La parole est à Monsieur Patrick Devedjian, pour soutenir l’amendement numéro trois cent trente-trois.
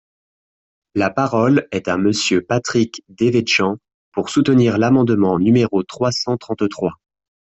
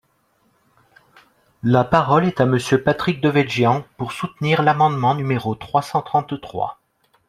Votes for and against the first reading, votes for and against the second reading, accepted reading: 1, 2, 2, 0, second